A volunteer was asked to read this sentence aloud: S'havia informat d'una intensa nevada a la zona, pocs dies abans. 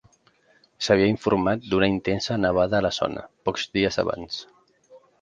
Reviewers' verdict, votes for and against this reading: rejected, 1, 2